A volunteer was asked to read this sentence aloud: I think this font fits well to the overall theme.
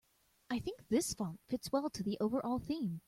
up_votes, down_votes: 2, 1